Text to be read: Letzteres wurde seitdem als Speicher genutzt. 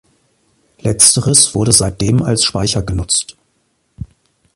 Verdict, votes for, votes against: accepted, 2, 0